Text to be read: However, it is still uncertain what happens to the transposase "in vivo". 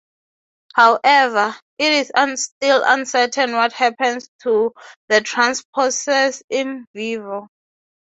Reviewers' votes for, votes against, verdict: 0, 6, rejected